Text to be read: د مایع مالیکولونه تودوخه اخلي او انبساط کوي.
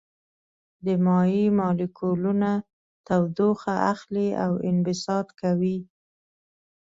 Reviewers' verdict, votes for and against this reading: rejected, 1, 2